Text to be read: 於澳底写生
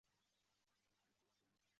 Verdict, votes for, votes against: rejected, 0, 4